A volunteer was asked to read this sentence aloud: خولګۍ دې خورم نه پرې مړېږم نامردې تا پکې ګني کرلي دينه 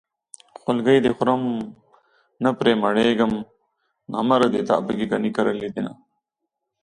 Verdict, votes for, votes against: accepted, 2, 0